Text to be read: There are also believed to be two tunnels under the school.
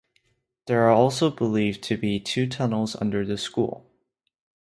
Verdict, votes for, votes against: accepted, 2, 0